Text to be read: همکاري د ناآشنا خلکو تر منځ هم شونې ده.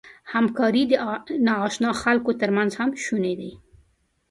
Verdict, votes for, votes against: rejected, 1, 2